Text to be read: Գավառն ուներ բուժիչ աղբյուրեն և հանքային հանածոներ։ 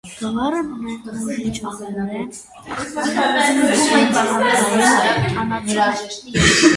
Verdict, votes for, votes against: rejected, 0, 2